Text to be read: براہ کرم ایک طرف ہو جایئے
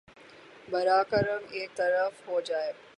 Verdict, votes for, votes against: rejected, 0, 3